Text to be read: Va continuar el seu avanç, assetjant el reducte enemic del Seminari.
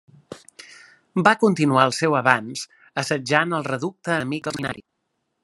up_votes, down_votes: 0, 2